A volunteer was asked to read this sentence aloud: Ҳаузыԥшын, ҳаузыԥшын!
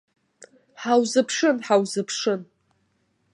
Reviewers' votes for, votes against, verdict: 4, 0, accepted